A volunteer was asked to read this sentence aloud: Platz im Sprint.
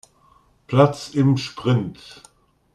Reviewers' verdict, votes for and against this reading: accepted, 2, 0